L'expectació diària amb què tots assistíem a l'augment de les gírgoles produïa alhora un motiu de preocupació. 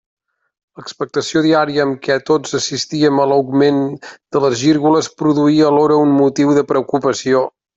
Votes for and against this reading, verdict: 2, 0, accepted